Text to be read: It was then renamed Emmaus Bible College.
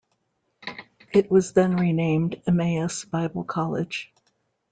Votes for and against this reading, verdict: 2, 0, accepted